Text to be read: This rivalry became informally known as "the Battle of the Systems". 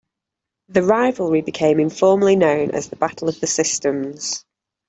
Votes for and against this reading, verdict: 0, 2, rejected